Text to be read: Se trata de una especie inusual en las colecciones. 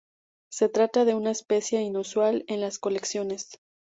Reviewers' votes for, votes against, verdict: 2, 0, accepted